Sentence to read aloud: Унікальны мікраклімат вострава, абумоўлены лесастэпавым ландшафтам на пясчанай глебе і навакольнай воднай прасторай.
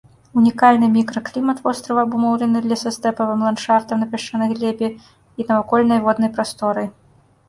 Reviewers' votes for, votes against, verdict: 2, 1, accepted